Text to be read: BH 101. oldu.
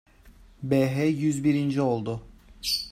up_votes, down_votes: 0, 2